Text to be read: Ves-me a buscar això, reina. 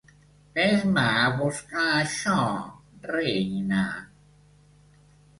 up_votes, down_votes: 2, 0